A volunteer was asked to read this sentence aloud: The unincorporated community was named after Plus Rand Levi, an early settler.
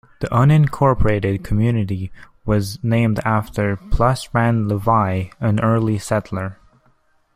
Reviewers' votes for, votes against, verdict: 2, 0, accepted